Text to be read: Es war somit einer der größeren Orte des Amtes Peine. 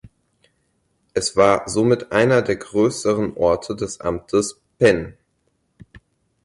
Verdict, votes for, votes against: rejected, 0, 4